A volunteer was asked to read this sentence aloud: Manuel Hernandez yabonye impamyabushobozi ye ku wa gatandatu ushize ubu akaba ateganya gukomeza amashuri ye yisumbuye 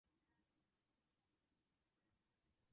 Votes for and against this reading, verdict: 0, 2, rejected